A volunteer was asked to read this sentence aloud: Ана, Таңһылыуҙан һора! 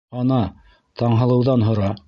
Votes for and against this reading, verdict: 1, 2, rejected